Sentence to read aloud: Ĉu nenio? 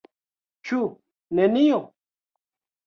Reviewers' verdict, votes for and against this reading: accepted, 2, 0